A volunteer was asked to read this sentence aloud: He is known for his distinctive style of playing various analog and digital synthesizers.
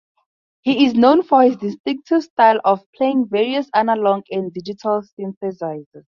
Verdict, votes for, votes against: rejected, 0, 2